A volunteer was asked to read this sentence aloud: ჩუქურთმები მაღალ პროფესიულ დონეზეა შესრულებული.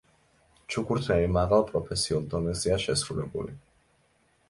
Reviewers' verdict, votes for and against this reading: accepted, 2, 0